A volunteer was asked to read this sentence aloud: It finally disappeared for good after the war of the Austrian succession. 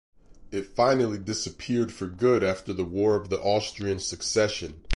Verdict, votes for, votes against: accepted, 4, 0